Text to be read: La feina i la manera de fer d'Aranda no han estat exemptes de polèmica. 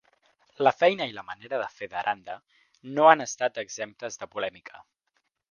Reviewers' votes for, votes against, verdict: 4, 0, accepted